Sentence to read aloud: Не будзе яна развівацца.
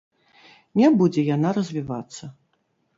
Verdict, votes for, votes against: rejected, 0, 2